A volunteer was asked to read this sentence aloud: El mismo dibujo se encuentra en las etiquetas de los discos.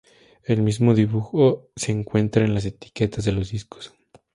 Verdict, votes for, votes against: accepted, 4, 0